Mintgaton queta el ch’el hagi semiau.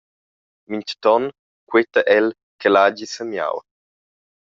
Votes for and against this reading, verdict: 2, 0, accepted